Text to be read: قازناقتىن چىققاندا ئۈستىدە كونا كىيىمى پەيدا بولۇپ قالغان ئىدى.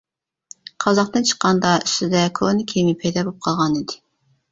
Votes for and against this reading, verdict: 0, 2, rejected